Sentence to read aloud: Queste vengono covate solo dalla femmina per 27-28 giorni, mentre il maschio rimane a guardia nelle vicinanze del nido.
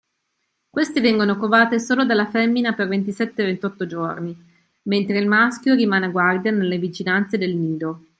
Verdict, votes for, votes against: rejected, 0, 2